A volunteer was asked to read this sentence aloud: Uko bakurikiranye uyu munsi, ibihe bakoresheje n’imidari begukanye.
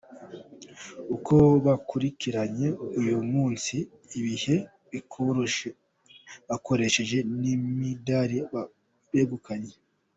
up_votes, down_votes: 1, 2